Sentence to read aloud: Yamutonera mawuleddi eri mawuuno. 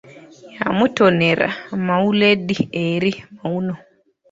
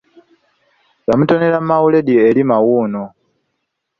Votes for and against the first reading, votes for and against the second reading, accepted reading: 0, 2, 2, 0, second